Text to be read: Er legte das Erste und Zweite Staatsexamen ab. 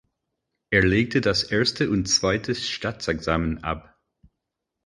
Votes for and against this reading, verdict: 4, 0, accepted